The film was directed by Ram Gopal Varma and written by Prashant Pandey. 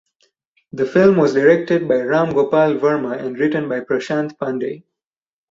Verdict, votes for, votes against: accepted, 4, 0